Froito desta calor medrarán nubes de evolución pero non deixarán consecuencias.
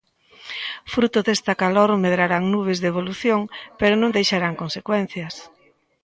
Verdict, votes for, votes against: rejected, 1, 2